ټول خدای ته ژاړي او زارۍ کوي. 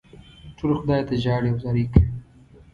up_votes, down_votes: 1, 2